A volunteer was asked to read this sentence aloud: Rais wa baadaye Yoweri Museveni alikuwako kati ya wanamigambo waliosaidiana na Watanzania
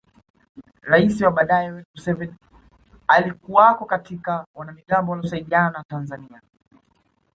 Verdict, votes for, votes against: rejected, 1, 2